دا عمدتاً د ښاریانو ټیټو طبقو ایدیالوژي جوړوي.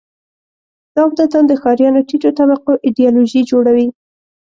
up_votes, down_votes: 2, 0